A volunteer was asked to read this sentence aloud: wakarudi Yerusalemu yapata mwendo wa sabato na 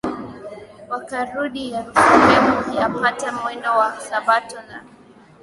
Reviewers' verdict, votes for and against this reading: accepted, 2, 0